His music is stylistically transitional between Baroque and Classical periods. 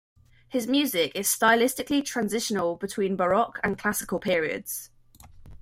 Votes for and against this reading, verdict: 2, 0, accepted